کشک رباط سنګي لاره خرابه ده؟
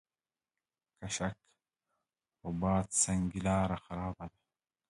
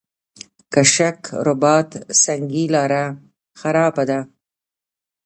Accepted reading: first